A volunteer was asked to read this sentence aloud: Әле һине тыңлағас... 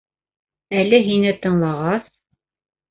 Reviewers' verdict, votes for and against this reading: accepted, 2, 0